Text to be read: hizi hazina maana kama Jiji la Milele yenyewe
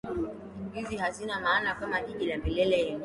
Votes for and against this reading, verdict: 0, 2, rejected